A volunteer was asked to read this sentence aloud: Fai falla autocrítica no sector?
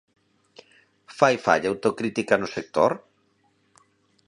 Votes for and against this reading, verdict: 2, 0, accepted